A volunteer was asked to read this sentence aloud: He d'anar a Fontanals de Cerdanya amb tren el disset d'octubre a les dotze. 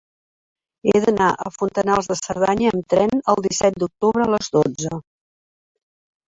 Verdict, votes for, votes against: rejected, 0, 2